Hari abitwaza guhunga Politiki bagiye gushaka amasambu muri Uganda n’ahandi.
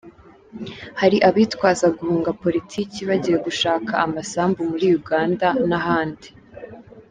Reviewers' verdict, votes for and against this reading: accepted, 2, 0